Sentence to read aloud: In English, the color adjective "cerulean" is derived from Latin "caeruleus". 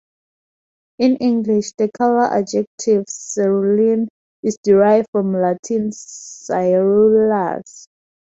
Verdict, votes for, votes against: rejected, 0, 2